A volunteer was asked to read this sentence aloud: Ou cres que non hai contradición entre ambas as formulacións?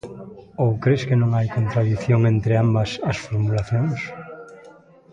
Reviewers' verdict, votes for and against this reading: accepted, 3, 0